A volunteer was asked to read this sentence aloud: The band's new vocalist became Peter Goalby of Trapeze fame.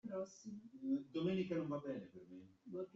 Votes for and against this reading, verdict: 0, 2, rejected